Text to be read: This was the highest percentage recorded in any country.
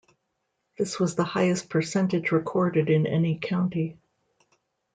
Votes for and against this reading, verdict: 0, 2, rejected